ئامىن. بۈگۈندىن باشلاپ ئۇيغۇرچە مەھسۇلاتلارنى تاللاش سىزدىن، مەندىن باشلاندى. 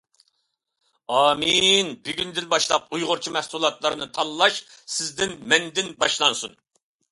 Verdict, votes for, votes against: rejected, 0, 2